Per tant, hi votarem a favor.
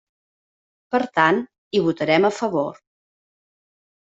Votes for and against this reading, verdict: 3, 0, accepted